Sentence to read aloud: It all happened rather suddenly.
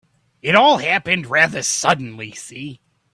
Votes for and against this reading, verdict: 1, 2, rejected